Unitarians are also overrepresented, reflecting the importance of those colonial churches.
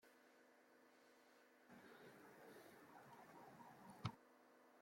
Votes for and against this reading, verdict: 0, 2, rejected